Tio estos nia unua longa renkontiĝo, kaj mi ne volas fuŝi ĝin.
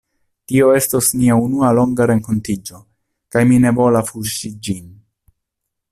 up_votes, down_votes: 2, 1